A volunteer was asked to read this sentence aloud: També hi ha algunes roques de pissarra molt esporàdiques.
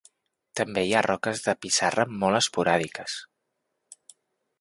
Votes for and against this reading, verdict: 0, 2, rejected